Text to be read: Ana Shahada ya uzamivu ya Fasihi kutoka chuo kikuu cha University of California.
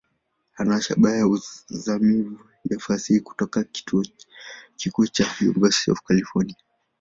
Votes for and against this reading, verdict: 6, 7, rejected